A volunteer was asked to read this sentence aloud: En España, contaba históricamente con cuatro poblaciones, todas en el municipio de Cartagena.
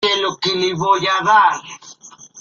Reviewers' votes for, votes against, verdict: 0, 2, rejected